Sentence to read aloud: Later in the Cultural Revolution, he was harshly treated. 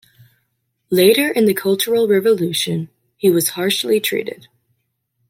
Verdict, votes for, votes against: accepted, 2, 0